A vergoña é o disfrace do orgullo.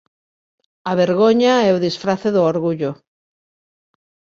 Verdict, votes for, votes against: accepted, 2, 0